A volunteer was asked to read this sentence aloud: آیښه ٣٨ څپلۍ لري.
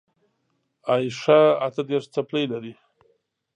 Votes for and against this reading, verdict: 0, 2, rejected